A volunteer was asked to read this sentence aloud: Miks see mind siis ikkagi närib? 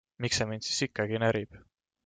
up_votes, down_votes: 2, 0